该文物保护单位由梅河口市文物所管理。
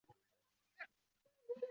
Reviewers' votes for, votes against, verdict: 3, 5, rejected